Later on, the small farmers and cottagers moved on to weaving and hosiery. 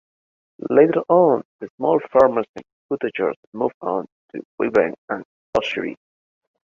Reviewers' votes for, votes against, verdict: 0, 2, rejected